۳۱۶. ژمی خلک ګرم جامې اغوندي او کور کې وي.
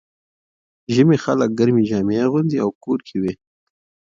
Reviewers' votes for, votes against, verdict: 0, 2, rejected